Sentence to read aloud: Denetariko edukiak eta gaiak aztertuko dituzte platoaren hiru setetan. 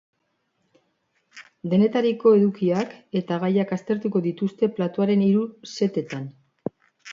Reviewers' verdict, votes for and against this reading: accepted, 2, 0